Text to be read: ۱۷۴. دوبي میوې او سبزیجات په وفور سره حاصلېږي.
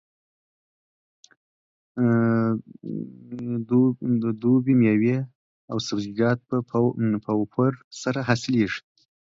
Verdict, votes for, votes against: rejected, 0, 2